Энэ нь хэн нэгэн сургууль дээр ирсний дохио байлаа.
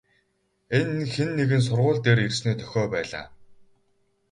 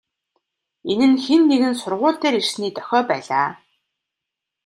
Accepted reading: second